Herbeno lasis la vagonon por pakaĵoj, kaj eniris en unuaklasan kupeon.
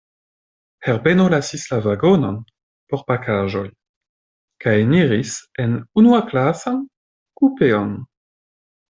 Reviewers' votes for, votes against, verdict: 2, 0, accepted